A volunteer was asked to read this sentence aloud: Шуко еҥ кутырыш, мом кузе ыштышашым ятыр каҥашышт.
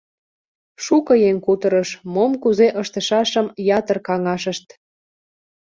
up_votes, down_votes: 2, 0